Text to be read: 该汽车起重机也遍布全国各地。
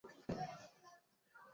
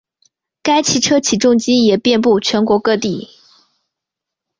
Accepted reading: second